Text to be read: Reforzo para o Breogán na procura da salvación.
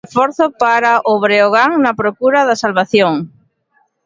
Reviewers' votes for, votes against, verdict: 0, 2, rejected